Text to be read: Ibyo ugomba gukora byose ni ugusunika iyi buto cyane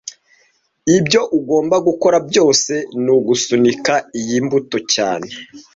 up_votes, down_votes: 1, 2